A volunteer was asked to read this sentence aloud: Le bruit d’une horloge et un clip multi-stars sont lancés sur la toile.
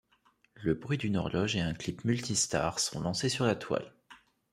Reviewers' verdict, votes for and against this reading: rejected, 0, 2